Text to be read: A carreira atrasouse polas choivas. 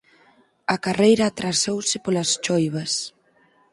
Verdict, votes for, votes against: accepted, 6, 0